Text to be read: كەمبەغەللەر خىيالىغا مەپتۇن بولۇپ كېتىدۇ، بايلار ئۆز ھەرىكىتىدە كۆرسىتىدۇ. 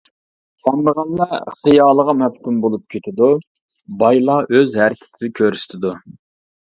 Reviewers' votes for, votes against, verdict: 1, 2, rejected